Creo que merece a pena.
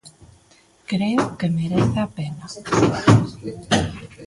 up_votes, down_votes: 3, 2